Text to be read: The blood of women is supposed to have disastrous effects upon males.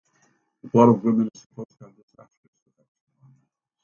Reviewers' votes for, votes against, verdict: 0, 2, rejected